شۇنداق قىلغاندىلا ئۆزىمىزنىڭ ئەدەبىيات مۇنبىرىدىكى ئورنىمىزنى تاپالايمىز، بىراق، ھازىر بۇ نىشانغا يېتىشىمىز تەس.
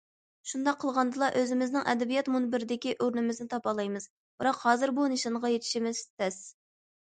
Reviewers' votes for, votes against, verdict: 2, 0, accepted